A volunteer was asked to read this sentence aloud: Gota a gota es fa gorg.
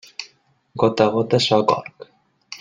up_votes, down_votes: 1, 2